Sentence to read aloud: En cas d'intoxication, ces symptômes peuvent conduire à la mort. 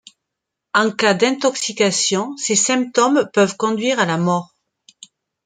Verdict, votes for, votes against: accepted, 2, 0